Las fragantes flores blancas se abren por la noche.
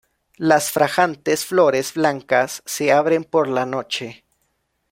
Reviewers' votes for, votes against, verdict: 1, 2, rejected